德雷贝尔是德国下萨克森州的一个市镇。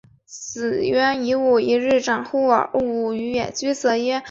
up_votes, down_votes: 3, 5